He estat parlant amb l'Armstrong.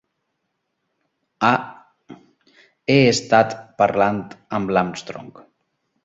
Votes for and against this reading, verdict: 0, 3, rejected